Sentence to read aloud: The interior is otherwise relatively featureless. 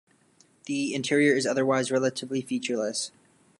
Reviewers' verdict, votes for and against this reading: accepted, 2, 0